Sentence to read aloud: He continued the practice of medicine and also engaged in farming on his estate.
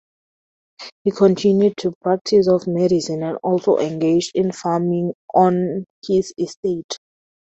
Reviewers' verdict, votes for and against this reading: rejected, 0, 4